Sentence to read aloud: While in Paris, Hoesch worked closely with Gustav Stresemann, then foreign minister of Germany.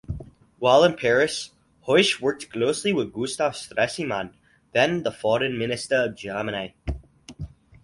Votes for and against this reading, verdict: 2, 0, accepted